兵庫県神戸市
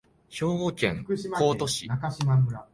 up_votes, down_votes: 0, 2